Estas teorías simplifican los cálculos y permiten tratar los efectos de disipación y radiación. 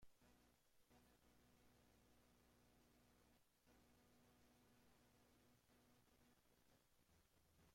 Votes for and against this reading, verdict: 0, 2, rejected